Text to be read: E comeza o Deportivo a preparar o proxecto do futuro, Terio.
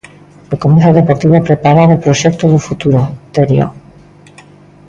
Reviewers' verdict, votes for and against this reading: accepted, 2, 0